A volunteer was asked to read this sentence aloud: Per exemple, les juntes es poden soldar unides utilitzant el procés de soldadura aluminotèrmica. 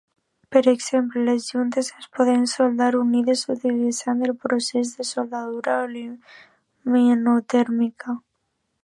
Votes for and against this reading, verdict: 0, 2, rejected